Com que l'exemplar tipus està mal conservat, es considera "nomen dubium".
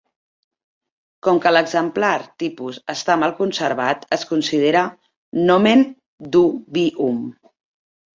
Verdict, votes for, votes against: rejected, 1, 2